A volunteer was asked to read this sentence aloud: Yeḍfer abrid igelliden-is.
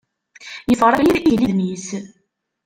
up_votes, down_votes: 0, 2